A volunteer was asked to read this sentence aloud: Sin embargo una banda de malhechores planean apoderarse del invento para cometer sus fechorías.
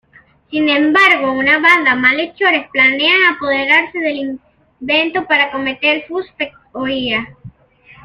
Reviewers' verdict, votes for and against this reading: rejected, 0, 2